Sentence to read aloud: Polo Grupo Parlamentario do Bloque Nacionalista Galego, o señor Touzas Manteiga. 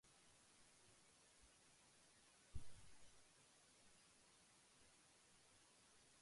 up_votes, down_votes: 0, 2